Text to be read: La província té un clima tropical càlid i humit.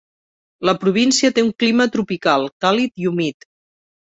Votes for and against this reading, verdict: 3, 0, accepted